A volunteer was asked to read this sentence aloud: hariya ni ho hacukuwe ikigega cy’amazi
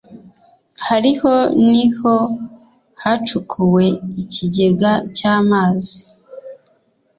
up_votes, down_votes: 1, 2